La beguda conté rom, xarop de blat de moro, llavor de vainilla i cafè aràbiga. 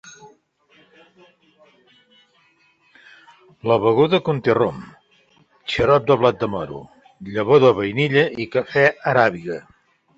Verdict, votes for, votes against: accepted, 3, 1